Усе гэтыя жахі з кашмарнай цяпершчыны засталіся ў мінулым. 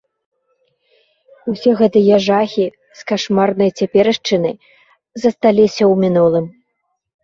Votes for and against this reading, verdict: 2, 0, accepted